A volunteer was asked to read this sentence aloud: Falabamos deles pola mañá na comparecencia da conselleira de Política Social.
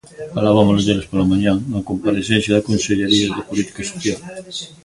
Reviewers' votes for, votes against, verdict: 1, 2, rejected